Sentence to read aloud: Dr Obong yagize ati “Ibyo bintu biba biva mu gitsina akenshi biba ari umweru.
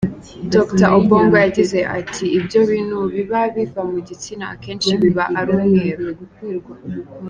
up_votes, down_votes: 3, 1